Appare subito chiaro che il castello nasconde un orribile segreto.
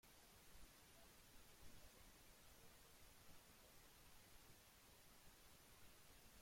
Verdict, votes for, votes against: rejected, 0, 2